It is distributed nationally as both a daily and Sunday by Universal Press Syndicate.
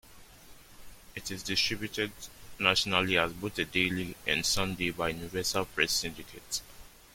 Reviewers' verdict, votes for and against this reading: accepted, 2, 0